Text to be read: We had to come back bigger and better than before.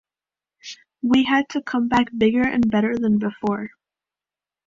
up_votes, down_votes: 2, 0